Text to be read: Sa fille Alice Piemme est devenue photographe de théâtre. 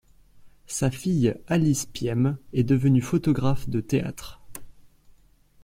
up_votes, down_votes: 2, 0